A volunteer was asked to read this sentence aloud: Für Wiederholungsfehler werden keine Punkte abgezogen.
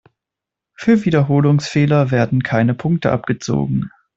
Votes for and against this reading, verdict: 2, 0, accepted